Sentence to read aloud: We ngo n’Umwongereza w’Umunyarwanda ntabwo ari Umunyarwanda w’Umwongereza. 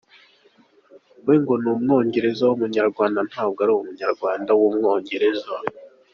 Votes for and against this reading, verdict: 2, 0, accepted